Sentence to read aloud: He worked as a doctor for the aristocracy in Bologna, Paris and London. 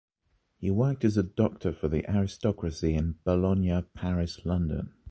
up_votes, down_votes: 0, 2